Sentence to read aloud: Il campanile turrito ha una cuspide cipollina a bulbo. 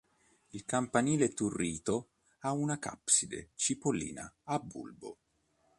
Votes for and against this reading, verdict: 0, 2, rejected